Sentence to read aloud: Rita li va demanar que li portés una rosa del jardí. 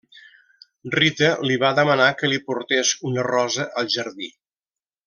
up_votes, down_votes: 0, 2